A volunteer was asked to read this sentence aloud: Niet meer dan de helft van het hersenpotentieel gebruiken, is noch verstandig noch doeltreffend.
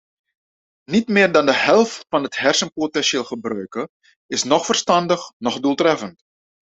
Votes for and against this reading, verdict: 2, 0, accepted